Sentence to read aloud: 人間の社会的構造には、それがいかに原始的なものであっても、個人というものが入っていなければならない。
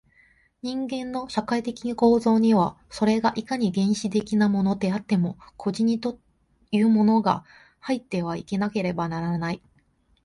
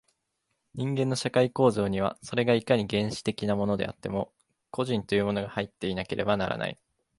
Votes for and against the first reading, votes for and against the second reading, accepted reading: 2, 0, 0, 2, first